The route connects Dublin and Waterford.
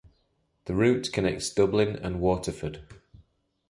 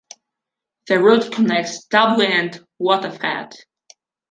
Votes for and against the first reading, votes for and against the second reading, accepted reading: 2, 0, 0, 2, first